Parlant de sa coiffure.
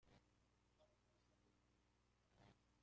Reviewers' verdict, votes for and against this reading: rejected, 0, 3